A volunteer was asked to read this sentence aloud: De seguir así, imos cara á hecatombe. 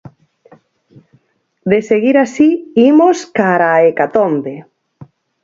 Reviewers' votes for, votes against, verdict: 2, 6, rejected